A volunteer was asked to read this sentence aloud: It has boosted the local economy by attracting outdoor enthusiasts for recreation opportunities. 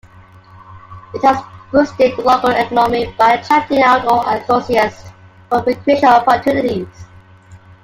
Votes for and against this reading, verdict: 0, 2, rejected